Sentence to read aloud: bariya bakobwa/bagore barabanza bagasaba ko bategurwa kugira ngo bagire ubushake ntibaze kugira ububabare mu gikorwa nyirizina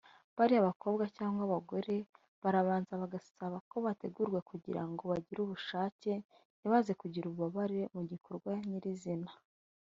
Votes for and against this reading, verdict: 0, 2, rejected